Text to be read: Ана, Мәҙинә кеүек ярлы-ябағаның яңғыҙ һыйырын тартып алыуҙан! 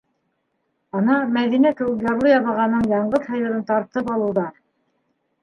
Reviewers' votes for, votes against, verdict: 1, 2, rejected